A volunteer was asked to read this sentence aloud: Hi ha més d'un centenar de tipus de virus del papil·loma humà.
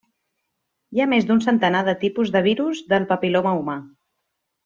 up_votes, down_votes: 2, 0